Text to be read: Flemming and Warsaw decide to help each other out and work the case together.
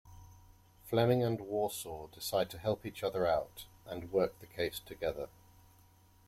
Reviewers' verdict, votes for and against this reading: rejected, 1, 2